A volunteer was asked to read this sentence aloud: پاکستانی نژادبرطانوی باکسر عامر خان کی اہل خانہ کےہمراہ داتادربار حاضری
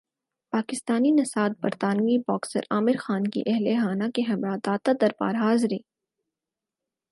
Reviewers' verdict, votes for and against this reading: accepted, 4, 0